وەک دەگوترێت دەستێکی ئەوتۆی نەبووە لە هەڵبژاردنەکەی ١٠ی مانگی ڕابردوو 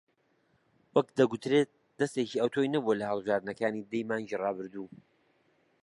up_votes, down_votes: 0, 2